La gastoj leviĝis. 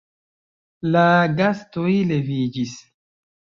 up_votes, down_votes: 2, 0